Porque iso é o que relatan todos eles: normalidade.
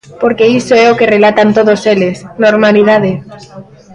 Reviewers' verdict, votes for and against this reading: rejected, 0, 2